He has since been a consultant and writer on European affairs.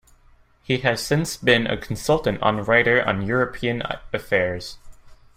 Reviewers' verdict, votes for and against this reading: rejected, 1, 2